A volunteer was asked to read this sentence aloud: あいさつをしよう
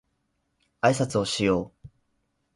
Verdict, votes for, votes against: accepted, 16, 0